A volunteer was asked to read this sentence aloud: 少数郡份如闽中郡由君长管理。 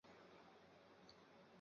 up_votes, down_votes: 0, 4